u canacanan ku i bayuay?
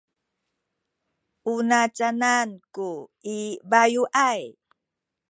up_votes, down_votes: 1, 2